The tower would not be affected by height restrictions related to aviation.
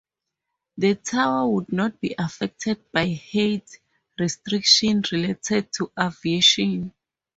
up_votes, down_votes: 0, 4